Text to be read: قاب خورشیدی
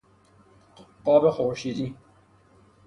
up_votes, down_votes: 3, 0